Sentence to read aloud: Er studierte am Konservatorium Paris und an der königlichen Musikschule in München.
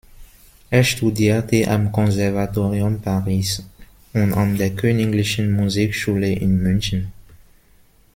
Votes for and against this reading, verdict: 0, 2, rejected